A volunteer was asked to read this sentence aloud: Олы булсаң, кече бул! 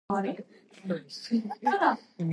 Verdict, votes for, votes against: rejected, 0, 2